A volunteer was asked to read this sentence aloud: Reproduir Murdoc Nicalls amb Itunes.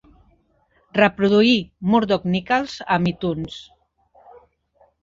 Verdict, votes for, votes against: accepted, 2, 1